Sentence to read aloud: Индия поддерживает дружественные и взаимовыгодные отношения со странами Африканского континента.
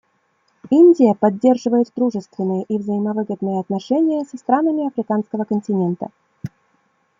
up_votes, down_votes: 2, 0